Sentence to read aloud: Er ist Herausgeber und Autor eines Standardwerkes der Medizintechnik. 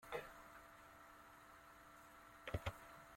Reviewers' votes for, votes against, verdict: 0, 2, rejected